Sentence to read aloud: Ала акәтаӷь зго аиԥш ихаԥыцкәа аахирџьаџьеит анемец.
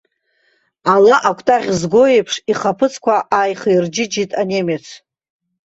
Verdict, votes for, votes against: rejected, 0, 2